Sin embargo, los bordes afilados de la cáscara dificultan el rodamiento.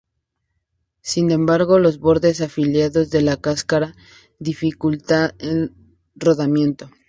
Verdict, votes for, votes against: rejected, 0, 2